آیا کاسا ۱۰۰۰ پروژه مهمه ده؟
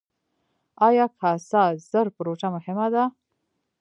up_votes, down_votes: 0, 2